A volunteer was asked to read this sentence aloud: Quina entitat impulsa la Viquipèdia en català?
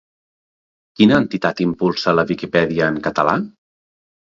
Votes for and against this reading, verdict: 2, 0, accepted